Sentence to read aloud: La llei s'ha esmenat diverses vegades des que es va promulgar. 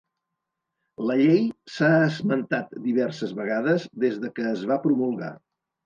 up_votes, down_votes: 1, 2